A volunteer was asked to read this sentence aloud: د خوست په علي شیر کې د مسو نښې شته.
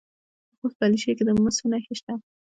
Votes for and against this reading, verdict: 2, 0, accepted